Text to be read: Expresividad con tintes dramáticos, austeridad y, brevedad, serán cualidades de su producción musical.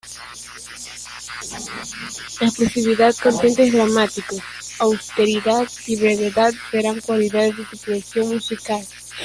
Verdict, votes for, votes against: rejected, 0, 2